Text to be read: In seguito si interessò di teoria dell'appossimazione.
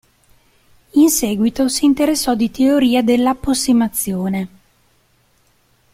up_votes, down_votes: 2, 0